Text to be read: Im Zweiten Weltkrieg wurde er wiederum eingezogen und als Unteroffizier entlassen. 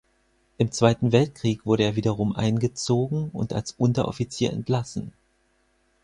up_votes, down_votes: 4, 0